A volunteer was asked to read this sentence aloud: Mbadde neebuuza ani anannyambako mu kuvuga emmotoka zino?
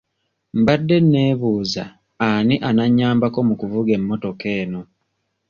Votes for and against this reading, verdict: 0, 2, rejected